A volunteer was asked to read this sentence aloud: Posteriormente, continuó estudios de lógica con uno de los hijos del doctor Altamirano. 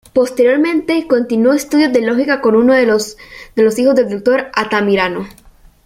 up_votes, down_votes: 0, 2